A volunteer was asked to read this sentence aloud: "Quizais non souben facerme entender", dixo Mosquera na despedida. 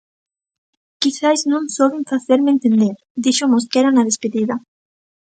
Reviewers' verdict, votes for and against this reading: accepted, 2, 0